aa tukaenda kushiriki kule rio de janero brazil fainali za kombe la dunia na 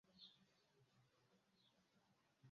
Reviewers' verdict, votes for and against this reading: rejected, 0, 2